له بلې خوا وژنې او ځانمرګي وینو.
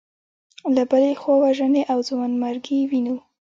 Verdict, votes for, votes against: rejected, 1, 2